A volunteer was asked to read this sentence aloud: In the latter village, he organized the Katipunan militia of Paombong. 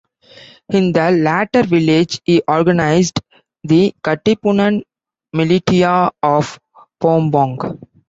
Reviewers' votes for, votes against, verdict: 0, 2, rejected